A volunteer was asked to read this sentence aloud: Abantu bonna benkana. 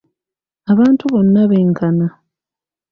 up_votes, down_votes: 2, 0